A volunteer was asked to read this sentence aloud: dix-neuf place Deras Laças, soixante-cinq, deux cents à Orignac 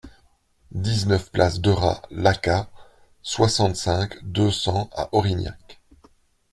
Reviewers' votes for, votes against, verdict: 0, 2, rejected